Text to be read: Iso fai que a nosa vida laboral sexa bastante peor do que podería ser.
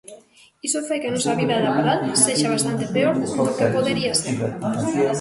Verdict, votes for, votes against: rejected, 0, 2